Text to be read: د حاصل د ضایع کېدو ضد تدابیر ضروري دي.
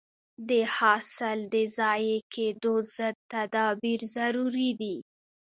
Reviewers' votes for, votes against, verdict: 0, 2, rejected